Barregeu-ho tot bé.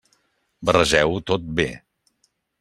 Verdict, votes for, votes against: accepted, 3, 0